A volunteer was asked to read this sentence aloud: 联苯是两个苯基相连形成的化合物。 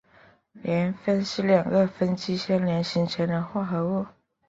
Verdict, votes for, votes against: rejected, 1, 4